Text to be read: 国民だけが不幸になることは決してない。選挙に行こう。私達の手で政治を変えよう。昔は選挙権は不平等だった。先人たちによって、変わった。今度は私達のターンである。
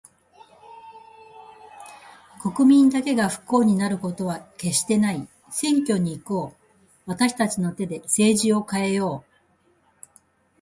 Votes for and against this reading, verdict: 0, 2, rejected